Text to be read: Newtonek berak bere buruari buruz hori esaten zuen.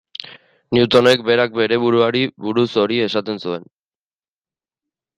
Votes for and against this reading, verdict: 2, 1, accepted